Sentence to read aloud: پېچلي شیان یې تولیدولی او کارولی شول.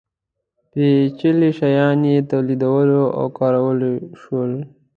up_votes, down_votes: 2, 0